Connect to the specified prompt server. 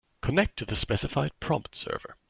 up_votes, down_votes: 2, 0